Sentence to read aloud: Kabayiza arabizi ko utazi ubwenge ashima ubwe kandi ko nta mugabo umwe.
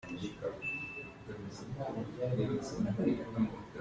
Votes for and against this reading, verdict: 0, 2, rejected